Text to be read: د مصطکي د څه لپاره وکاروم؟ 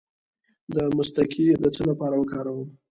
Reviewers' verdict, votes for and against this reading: rejected, 0, 2